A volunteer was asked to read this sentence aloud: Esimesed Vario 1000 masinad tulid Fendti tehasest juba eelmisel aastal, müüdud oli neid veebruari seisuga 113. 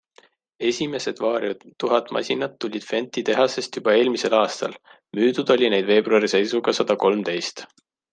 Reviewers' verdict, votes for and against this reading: rejected, 0, 2